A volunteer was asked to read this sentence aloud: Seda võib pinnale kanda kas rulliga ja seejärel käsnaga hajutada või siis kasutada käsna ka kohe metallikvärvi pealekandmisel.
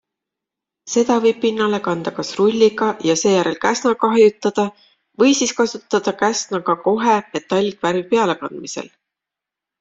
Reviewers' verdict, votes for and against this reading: accepted, 2, 0